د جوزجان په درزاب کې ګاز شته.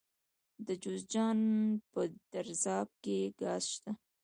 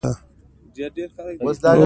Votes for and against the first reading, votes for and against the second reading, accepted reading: 1, 2, 2, 0, second